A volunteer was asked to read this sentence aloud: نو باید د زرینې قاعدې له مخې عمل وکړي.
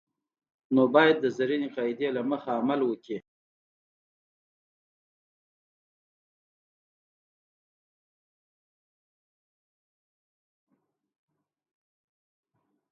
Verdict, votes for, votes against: rejected, 0, 2